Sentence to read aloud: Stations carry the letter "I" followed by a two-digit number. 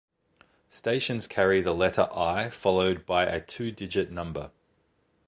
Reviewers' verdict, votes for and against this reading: accepted, 2, 0